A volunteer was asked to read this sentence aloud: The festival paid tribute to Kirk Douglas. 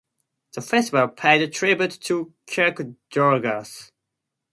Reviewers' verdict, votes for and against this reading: rejected, 0, 2